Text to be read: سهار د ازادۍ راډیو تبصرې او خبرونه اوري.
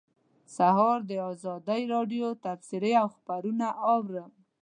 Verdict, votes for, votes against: accepted, 2, 1